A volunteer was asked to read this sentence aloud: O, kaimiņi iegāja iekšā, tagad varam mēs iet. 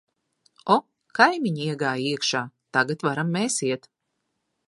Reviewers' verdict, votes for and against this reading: accepted, 2, 0